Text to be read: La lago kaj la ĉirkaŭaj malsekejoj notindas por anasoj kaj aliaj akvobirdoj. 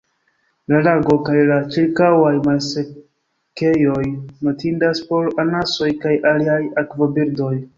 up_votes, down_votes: 1, 2